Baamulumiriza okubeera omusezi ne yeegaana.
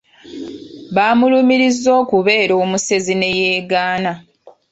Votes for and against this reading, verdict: 2, 0, accepted